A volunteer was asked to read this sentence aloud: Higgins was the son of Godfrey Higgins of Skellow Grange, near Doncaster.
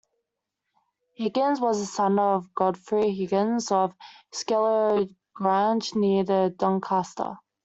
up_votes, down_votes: 0, 2